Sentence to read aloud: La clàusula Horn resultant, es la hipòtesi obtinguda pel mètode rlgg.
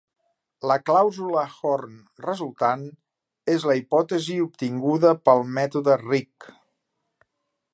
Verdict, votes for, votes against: rejected, 1, 2